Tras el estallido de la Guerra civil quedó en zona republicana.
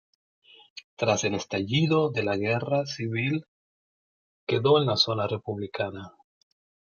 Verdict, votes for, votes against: rejected, 1, 2